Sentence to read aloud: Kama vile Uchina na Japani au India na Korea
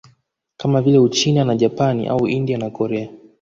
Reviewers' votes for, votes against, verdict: 2, 0, accepted